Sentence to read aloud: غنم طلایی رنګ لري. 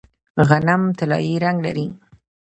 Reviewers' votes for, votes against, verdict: 2, 0, accepted